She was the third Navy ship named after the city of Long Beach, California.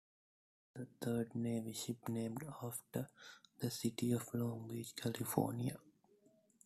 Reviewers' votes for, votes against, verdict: 0, 2, rejected